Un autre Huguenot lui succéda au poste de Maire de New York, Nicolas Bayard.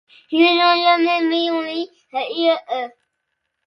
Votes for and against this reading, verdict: 0, 2, rejected